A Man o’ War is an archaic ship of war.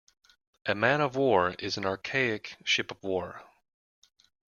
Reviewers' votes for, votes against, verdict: 1, 2, rejected